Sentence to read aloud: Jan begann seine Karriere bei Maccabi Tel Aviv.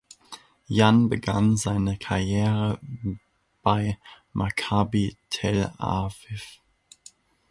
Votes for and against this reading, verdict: 2, 0, accepted